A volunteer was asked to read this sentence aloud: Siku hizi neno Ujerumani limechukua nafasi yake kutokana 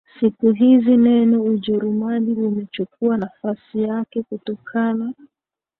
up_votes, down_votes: 2, 0